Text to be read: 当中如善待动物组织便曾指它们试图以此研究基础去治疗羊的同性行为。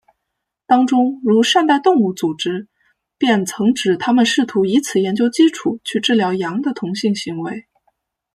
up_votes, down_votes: 0, 2